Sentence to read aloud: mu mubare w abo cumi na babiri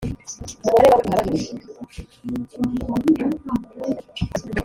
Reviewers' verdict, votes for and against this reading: rejected, 2, 3